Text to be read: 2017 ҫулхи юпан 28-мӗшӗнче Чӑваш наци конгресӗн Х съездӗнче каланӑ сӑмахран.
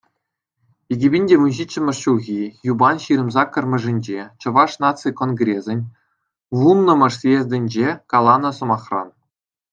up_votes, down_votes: 0, 2